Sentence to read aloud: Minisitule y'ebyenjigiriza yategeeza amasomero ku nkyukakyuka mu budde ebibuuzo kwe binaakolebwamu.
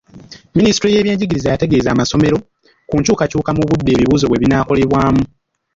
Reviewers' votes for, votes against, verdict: 1, 2, rejected